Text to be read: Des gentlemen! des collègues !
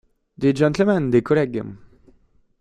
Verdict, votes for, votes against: accepted, 2, 1